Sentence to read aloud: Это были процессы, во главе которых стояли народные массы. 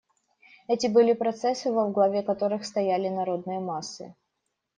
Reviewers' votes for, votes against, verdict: 1, 2, rejected